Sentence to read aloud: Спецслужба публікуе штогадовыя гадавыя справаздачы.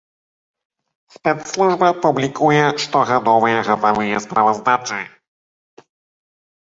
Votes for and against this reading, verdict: 1, 2, rejected